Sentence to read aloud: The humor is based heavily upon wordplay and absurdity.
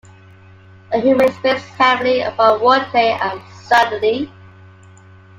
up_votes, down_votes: 2, 1